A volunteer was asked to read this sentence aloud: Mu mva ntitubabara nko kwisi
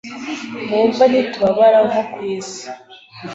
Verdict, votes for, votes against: accepted, 2, 0